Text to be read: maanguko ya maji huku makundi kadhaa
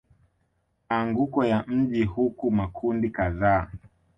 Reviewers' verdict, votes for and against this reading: accepted, 2, 1